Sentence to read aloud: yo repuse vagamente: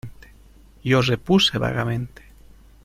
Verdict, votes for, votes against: accepted, 2, 0